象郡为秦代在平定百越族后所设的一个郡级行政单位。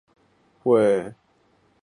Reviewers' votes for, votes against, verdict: 0, 3, rejected